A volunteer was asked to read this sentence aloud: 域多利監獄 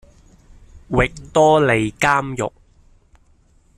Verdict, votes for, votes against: accepted, 2, 0